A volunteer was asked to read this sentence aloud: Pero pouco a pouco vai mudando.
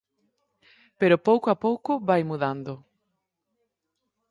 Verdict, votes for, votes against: accepted, 4, 0